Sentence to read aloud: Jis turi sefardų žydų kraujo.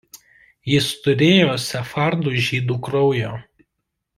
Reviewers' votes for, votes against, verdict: 0, 2, rejected